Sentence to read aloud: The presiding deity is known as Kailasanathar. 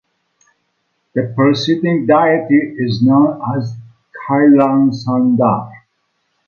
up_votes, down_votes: 2, 1